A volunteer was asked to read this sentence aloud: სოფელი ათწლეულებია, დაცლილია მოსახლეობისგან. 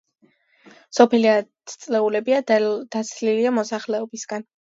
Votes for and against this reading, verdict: 2, 1, accepted